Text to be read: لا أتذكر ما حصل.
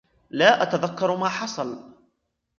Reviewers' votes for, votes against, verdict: 1, 2, rejected